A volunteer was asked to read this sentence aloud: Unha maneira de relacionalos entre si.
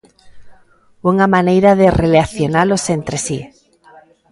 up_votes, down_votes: 1, 2